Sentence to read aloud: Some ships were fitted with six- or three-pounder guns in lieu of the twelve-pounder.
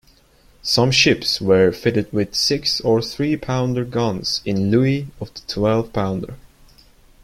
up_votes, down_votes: 1, 2